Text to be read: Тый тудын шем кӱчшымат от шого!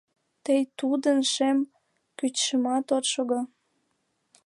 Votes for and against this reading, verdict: 0, 2, rejected